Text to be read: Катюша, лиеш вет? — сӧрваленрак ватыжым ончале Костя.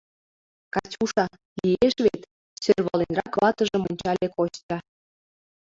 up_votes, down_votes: 1, 2